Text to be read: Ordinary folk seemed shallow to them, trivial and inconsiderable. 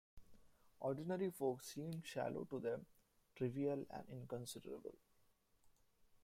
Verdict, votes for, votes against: accepted, 2, 1